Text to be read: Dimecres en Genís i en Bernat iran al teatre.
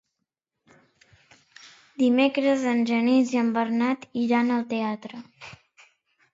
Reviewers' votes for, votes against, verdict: 2, 0, accepted